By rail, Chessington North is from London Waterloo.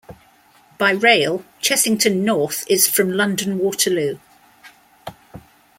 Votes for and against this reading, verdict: 2, 0, accepted